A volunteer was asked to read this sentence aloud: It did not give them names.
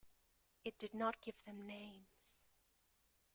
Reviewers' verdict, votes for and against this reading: accepted, 2, 0